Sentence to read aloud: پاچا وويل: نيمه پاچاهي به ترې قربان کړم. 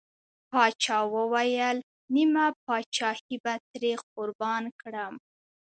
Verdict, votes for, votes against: accepted, 2, 0